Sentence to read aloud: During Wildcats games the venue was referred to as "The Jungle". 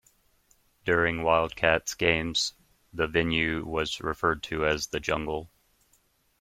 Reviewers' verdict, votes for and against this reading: accepted, 2, 0